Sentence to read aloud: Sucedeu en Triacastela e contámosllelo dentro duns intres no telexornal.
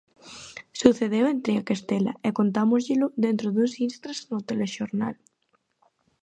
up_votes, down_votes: 0, 2